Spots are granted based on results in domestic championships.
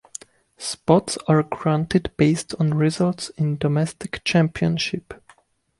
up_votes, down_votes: 0, 2